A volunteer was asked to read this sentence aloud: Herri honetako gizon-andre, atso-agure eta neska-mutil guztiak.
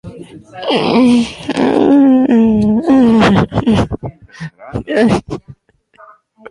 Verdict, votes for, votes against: rejected, 0, 4